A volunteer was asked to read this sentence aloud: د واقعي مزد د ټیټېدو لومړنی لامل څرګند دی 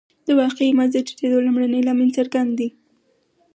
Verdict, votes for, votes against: accepted, 4, 2